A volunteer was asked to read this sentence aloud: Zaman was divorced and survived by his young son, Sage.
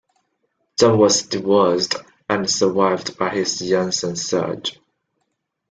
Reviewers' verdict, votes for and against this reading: rejected, 0, 2